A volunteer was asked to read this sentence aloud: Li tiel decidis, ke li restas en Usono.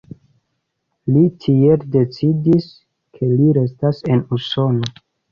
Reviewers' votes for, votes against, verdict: 2, 0, accepted